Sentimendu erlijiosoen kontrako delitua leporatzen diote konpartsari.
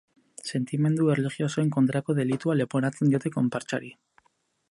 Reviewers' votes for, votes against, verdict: 4, 0, accepted